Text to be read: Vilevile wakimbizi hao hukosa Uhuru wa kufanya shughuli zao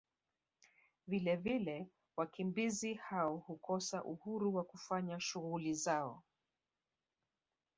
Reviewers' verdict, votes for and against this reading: rejected, 0, 2